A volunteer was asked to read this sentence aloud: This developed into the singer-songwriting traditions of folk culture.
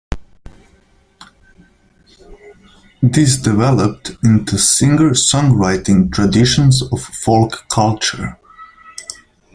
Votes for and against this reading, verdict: 2, 3, rejected